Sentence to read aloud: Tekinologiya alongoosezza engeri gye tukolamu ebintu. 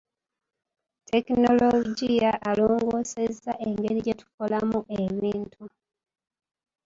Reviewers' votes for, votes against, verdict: 1, 2, rejected